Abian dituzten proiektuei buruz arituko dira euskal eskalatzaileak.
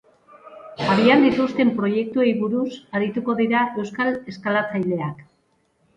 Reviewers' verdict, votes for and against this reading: rejected, 0, 2